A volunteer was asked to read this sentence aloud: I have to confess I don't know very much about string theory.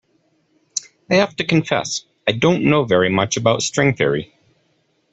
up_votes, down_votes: 2, 0